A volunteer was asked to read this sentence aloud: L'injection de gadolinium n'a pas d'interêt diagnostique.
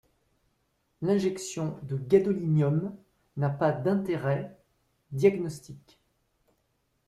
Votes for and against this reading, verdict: 2, 0, accepted